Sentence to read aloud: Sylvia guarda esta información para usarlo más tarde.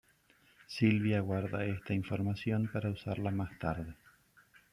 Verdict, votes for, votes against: rejected, 0, 2